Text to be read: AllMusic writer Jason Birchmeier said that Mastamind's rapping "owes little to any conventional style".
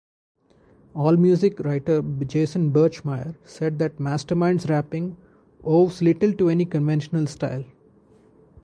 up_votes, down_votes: 2, 0